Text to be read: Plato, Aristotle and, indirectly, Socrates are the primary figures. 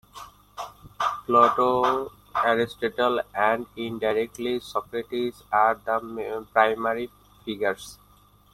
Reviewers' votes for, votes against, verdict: 0, 2, rejected